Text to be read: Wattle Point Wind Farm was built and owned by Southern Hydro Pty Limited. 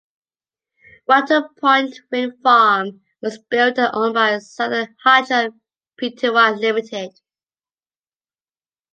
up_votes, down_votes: 2, 0